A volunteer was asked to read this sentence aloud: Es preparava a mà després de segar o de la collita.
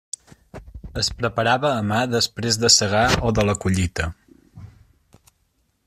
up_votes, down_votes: 3, 0